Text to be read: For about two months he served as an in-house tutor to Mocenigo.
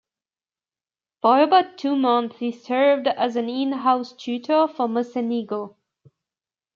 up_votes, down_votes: 1, 2